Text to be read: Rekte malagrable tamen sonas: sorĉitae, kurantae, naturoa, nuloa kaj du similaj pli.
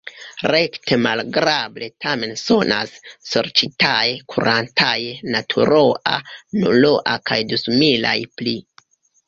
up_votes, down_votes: 2, 1